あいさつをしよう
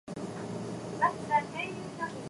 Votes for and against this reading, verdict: 4, 5, rejected